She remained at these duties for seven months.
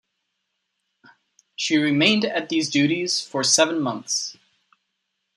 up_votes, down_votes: 2, 0